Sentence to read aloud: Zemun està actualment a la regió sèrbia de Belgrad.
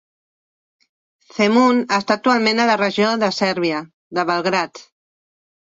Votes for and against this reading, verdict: 1, 2, rejected